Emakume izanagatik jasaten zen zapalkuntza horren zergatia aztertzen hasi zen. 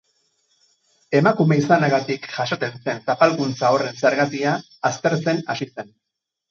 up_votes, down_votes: 4, 0